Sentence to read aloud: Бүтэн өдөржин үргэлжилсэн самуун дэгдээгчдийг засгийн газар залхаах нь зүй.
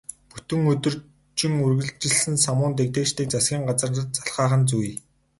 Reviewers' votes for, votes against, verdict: 0, 2, rejected